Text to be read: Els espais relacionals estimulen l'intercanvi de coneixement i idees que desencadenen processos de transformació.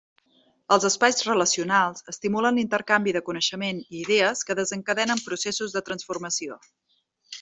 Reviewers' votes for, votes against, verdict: 2, 0, accepted